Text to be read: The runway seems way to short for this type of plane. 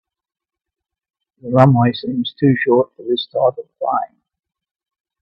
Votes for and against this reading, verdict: 0, 2, rejected